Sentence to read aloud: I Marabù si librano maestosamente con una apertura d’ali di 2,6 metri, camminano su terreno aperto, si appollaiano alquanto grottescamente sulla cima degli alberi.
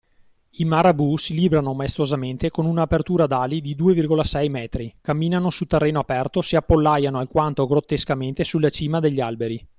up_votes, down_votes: 0, 2